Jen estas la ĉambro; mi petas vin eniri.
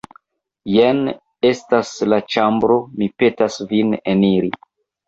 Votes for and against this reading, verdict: 1, 2, rejected